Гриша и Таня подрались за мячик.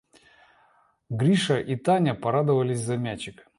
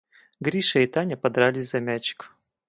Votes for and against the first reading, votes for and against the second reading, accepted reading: 0, 2, 4, 0, second